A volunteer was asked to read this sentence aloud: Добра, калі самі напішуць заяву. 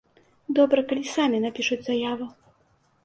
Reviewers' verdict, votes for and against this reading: accepted, 2, 0